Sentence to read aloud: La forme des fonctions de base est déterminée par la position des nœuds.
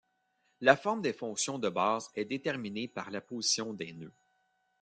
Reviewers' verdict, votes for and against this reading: rejected, 1, 2